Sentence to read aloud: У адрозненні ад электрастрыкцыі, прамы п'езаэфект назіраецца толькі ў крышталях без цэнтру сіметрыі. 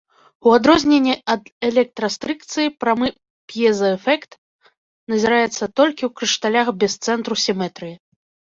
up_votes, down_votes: 0, 2